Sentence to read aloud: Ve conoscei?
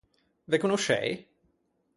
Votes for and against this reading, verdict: 4, 0, accepted